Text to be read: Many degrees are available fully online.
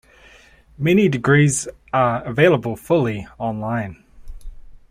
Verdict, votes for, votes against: accepted, 2, 0